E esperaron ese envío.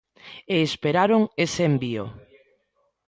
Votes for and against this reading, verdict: 1, 2, rejected